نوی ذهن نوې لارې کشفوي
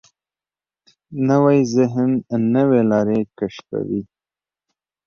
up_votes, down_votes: 2, 0